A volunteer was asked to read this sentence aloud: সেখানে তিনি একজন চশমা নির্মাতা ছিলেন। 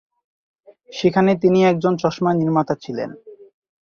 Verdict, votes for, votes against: accepted, 2, 0